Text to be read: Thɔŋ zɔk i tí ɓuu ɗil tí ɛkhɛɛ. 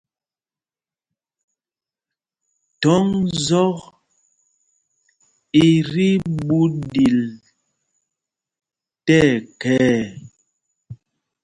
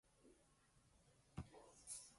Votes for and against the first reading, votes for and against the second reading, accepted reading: 2, 0, 0, 2, first